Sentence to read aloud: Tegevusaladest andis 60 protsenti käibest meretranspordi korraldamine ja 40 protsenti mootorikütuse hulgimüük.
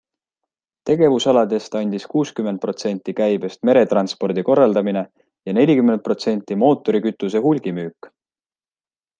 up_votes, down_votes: 0, 2